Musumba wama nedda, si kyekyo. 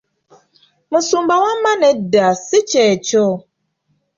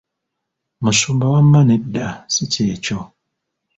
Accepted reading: first